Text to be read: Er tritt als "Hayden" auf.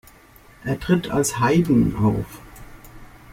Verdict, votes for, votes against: accepted, 2, 0